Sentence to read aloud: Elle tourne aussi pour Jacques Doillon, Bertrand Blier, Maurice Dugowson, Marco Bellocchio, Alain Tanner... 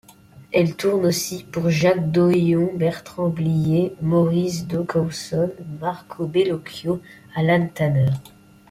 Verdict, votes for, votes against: accepted, 2, 0